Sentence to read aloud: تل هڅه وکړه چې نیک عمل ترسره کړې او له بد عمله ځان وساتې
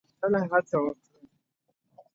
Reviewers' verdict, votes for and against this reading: rejected, 0, 2